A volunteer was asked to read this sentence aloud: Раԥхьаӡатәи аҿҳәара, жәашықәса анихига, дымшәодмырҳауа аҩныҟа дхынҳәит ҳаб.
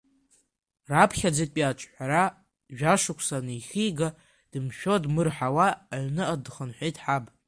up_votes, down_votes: 0, 2